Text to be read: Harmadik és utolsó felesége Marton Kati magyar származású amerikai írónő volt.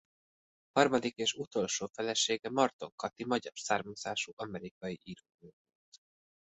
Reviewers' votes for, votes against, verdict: 0, 2, rejected